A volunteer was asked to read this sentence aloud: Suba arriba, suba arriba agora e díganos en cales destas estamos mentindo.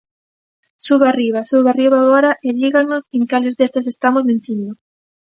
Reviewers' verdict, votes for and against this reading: accepted, 2, 1